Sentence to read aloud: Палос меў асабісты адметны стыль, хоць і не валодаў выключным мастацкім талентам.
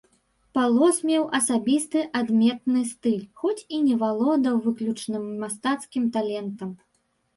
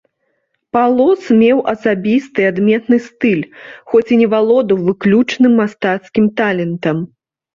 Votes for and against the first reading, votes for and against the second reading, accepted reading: 0, 2, 2, 0, second